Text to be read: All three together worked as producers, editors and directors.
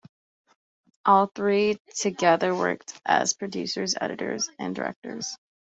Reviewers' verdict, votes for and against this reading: accepted, 2, 0